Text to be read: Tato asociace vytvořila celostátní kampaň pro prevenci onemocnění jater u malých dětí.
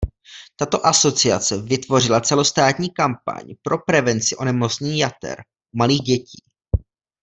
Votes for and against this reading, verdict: 1, 2, rejected